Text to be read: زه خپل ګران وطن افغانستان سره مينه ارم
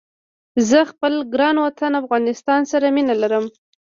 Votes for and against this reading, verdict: 2, 1, accepted